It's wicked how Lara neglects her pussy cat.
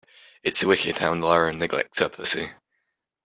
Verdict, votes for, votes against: rejected, 0, 2